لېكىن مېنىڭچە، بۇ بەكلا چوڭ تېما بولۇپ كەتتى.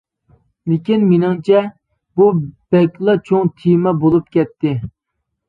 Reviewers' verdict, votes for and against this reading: accepted, 2, 0